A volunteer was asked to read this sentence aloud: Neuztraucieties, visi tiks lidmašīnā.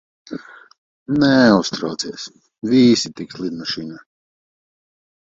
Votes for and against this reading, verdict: 0, 2, rejected